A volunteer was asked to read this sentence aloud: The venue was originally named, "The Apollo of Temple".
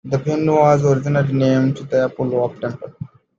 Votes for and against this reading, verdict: 1, 2, rejected